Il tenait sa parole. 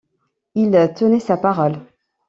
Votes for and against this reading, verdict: 1, 2, rejected